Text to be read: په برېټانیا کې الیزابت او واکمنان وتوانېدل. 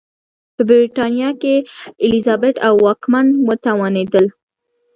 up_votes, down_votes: 2, 0